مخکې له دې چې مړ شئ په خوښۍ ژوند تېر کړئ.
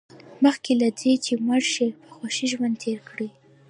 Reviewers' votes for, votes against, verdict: 2, 0, accepted